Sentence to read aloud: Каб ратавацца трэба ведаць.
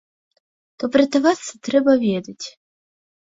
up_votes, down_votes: 2, 0